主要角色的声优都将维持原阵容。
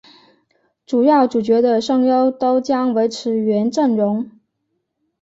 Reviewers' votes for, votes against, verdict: 0, 2, rejected